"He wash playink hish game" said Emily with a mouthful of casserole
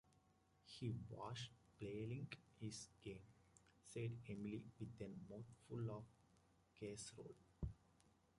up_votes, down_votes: 0, 2